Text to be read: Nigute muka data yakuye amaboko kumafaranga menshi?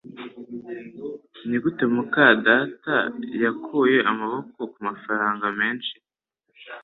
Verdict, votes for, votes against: accepted, 3, 0